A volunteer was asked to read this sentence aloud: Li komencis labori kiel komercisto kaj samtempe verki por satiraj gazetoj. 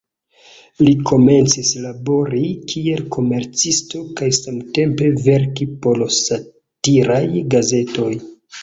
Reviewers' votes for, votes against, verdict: 0, 2, rejected